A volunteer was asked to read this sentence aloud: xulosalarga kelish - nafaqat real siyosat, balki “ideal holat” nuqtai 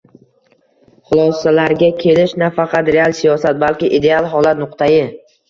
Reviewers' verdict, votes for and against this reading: accepted, 2, 0